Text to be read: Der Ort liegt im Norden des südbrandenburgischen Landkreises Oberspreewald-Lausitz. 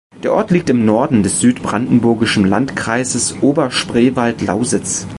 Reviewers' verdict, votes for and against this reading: accepted, 2, 0